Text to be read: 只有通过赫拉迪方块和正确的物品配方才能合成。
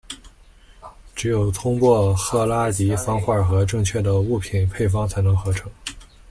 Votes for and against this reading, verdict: 2, 0, accepted